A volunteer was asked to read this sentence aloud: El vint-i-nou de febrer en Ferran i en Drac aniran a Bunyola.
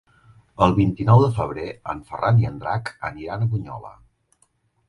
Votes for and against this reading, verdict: 3, 0, accepted